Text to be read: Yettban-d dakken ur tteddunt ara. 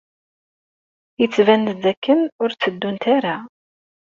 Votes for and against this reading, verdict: 2, 0, accepted